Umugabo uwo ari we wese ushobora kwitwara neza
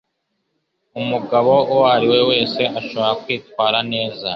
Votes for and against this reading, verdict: 0, 2, rejected